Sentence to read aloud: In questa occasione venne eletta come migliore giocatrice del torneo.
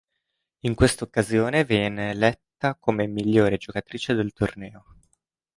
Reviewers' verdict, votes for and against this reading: rejected, 1, 2